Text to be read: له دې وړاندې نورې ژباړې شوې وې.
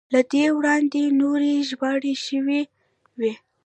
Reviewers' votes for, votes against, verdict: 0, 2, rejected